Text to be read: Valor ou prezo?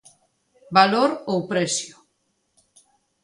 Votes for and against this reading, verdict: 0, 2, rejected